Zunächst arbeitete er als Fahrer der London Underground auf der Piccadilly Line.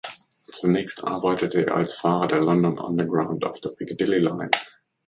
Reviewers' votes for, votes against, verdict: 2, 0, accepted